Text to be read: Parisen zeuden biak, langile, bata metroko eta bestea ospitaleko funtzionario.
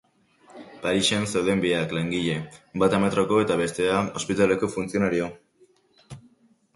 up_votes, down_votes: 0, 2